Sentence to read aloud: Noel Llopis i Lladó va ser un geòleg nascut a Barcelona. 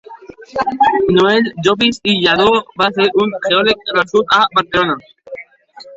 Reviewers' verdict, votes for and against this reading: rejected, 0, 2